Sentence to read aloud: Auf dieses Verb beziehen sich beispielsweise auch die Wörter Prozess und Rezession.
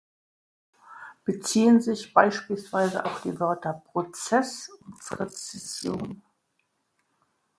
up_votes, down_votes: 0, 2